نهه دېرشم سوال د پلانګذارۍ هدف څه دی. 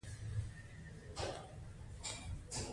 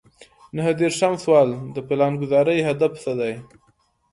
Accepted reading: second